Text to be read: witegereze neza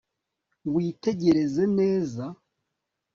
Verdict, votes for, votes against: accepted, 3, 0